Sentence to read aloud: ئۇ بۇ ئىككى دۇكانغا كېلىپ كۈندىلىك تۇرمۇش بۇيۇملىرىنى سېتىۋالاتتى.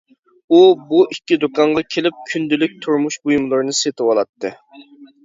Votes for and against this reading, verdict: 2, 0, accepted